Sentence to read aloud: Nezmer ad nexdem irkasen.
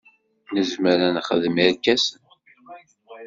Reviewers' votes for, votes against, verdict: 2, 0, accepted